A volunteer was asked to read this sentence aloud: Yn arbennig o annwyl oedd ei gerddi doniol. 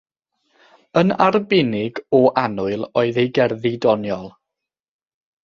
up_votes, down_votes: 3, 3